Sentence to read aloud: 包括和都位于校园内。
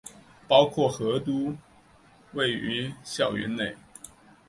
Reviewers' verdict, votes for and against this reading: accepted, 3, 0